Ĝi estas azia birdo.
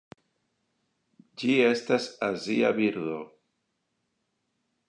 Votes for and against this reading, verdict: 2, 1, accepted